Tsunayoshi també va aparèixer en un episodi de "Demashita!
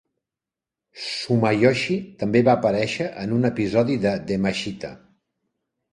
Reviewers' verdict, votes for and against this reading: rejected, 0, 2